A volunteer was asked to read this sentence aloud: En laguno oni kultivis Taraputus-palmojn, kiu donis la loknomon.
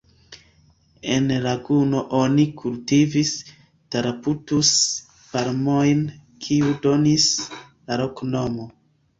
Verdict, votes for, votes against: accepted, 2, 0